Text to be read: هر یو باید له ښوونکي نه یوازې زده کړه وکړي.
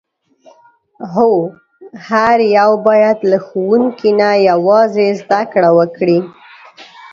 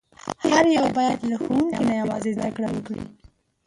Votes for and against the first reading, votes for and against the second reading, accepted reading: 0, 2, 2, 0, second